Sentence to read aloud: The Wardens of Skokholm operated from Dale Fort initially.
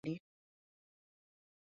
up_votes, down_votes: 0, 2